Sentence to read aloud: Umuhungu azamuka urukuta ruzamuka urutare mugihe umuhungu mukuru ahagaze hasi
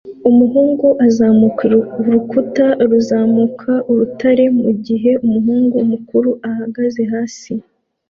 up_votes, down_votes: 2, 1